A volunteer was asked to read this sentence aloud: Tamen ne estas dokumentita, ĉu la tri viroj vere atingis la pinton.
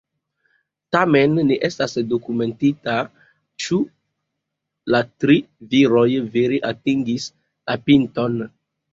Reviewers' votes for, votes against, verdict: 1, 2, rejected